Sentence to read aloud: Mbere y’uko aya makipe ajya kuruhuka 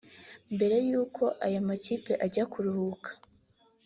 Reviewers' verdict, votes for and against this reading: accepted, 2, 0